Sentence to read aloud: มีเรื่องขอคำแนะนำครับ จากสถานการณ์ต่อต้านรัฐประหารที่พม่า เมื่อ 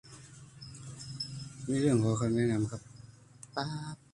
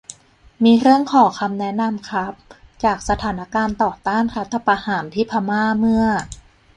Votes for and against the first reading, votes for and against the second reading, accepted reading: 0, 3, 2, 0, second